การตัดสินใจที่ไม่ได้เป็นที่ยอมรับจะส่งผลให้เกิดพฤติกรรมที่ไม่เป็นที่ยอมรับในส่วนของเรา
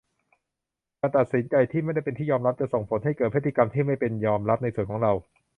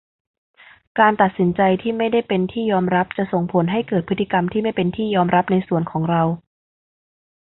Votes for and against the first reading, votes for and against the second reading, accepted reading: 0, 2, 2, 0, second